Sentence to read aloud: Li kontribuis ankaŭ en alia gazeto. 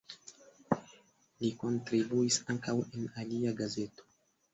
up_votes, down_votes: 2, 0